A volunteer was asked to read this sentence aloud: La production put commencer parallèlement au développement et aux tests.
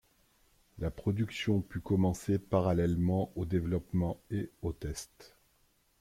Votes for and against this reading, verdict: 2, 0, accepted